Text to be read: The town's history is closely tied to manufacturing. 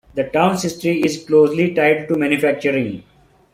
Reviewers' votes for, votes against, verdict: 2, 0, accepted